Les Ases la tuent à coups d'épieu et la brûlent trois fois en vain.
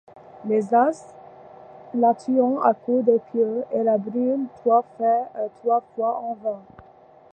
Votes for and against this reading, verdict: 1, 2, rejected